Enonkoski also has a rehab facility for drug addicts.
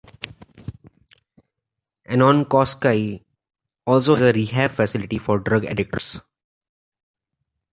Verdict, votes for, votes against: rejected, 0, 2